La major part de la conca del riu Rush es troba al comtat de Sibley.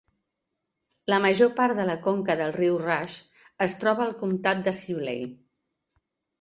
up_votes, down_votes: 2, 0